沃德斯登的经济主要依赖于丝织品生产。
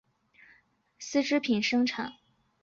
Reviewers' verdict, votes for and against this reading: rejected, 0, 2